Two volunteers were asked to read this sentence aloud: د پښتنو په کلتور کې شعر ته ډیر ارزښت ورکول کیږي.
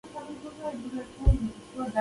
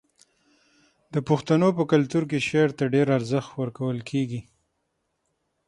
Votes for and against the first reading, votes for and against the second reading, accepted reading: 0, 2, 6, 3, second